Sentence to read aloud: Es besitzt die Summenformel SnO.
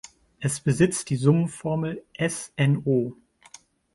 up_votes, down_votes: 2, 1